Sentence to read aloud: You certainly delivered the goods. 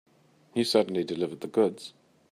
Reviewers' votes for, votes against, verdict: 3, 0, accepted